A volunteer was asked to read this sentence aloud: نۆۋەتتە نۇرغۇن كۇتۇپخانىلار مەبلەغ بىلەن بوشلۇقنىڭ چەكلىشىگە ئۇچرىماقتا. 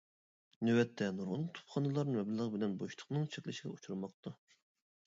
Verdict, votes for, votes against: rejected, 0, 3